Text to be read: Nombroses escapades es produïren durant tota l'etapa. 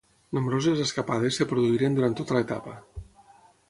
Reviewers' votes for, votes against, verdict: 0, 6, rejected